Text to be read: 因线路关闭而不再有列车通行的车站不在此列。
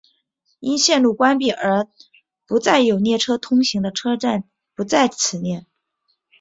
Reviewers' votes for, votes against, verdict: 2, 0, accepted